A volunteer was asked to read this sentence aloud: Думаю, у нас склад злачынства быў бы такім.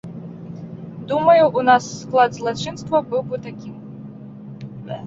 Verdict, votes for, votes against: accepted, 2, 0